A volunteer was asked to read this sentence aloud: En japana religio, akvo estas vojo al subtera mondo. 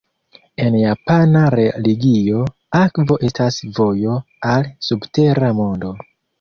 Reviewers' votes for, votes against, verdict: 2, 0, accepted